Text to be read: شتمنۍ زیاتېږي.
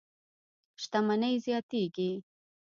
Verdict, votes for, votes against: rejected, 1, 2